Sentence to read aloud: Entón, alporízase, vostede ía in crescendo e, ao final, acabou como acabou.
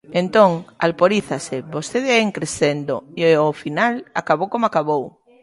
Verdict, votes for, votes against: rejected, 0, 2